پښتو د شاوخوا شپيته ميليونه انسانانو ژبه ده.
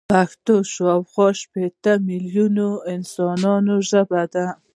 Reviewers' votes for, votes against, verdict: 1, 2, rejected